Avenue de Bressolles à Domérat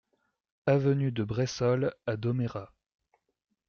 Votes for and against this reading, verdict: 2, 0, accepted